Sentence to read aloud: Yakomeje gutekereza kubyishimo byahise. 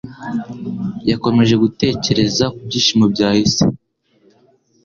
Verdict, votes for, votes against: accepted, 2, 0